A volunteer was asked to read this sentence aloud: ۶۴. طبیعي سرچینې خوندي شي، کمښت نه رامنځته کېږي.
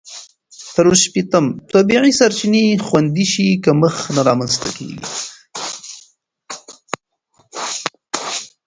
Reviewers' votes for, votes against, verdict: 0, 2, rejected